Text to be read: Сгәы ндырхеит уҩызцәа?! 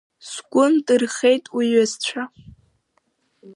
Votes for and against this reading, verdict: 2, 0, accepted